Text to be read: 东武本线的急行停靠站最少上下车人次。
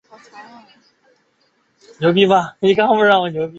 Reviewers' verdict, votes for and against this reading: rejected, 0, 6